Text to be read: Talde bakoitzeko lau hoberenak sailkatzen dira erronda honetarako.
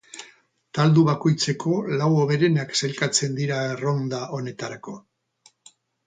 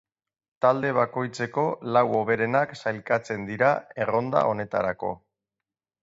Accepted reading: second